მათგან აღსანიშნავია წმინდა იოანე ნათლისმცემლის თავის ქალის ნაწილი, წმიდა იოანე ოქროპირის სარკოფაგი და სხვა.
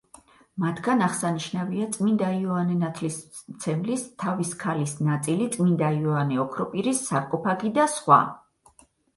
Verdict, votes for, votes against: rejected, 2, 4